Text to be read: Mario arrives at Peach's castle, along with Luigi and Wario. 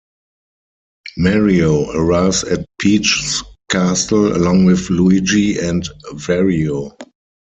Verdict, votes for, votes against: rejected, 0, 4